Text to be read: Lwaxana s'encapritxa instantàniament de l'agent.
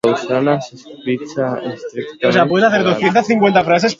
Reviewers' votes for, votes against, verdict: 2, 1, accepted